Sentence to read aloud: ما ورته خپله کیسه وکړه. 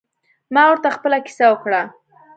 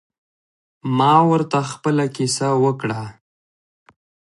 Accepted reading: first